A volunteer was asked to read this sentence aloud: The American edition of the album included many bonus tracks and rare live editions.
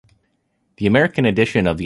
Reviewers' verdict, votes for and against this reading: rejected, 0, 2